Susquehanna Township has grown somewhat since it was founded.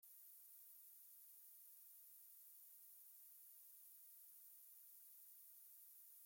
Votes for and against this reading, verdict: 0, 2, rejected